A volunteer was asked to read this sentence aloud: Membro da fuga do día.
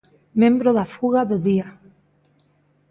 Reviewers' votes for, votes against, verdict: 2, 0, accepted